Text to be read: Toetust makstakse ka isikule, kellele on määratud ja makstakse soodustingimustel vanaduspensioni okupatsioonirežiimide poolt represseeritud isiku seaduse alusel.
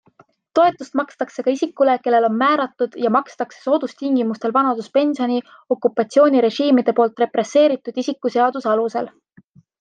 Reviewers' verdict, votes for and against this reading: accepted, 2, 0